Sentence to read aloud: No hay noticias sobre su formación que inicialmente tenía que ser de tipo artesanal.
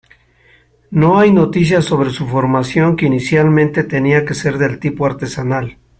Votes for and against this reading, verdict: 2, 0, accepted